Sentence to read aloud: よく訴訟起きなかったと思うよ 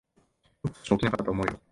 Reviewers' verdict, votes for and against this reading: rejected, 0, 2